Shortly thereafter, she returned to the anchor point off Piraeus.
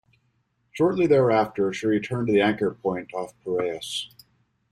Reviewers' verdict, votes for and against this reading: accepted, 2, 0